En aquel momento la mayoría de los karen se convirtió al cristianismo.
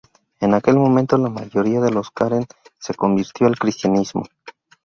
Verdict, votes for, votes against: accepted, 4, 0